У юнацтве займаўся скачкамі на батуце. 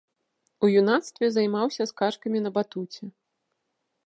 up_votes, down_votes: 0, 2